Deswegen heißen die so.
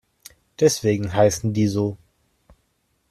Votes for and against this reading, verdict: 2, 0, accepted